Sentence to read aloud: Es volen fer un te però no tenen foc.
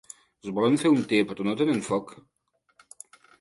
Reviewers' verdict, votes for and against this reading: rejected, 1, 2